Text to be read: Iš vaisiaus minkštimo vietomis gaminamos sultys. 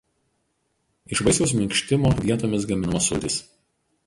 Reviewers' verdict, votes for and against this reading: rejected, 0, 4